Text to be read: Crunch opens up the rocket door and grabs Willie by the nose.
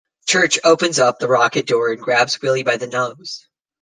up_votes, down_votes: 1, 2